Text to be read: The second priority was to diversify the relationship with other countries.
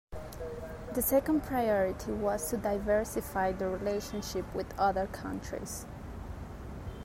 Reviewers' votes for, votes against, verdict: 2, 0, accepted